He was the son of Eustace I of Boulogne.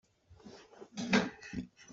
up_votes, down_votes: 0, 2